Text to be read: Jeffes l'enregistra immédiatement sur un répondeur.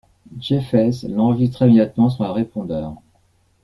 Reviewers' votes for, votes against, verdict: 0, 2, rejected